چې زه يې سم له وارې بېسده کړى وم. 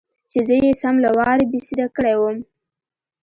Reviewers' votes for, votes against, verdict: 2, 0, accepted